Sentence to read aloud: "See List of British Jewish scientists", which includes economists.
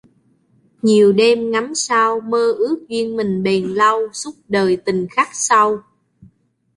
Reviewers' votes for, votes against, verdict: 2, 3, rejected